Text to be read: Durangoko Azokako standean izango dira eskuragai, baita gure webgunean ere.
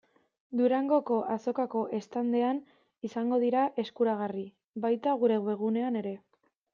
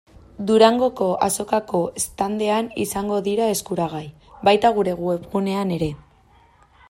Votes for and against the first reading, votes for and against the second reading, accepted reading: 1, 2, 2, 0, second